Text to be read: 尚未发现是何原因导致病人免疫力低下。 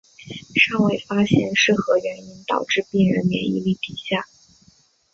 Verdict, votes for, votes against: accepted, 2, 0